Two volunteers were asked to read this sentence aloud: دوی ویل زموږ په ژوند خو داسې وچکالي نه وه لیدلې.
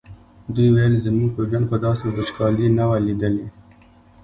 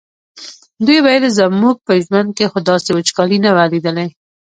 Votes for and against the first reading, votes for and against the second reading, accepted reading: 2, 1, 1, 2, first